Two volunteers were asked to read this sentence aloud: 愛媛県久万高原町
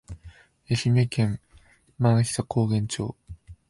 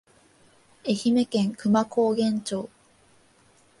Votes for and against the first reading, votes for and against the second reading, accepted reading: 1, 2, 2, 0, second